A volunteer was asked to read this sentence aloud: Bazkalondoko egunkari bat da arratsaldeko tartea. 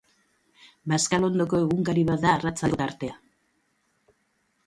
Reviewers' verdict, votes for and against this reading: rejected, 0, 2